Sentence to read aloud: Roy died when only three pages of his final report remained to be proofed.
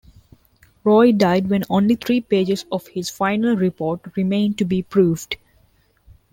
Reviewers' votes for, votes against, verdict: 2, 0, accepted